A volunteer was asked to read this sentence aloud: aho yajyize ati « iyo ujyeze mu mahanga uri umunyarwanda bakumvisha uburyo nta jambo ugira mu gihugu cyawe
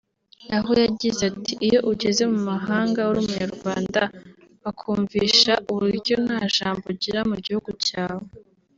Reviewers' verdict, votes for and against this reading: accepted, 2, 0